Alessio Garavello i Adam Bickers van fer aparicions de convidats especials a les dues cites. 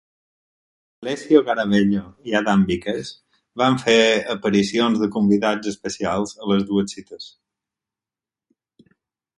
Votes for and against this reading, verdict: 2, 4, rejected